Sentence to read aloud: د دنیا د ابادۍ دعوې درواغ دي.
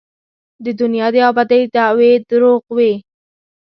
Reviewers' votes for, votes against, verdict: 0, 2, rejected